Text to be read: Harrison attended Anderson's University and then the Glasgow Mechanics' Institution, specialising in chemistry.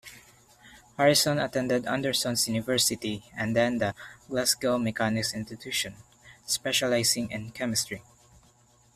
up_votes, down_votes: 2, 0